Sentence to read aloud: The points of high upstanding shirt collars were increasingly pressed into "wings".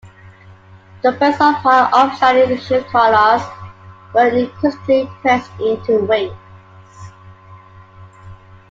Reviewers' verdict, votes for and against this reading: accepted, 2, 0